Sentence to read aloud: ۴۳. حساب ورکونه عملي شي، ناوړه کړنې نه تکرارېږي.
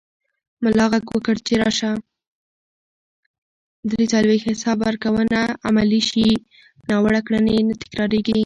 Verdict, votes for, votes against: rejected, 0, 2